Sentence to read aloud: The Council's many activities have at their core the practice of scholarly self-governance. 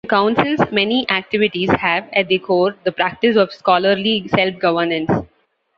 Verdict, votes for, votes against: rejected, 1, 2